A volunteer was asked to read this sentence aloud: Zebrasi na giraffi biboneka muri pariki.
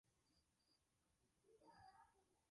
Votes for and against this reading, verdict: 0, 2, rejected